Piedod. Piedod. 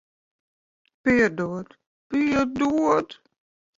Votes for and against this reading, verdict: 0, 3, rejected